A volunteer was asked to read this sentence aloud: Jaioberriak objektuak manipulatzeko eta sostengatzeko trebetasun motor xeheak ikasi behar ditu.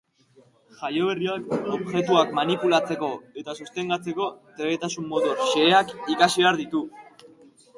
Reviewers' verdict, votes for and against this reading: accepted, 2, 0